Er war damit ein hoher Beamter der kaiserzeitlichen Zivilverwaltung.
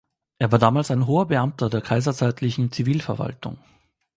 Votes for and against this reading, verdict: 0, 2, rejected